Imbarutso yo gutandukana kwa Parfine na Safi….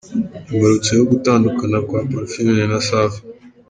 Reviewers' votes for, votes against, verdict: 2, 1, accepted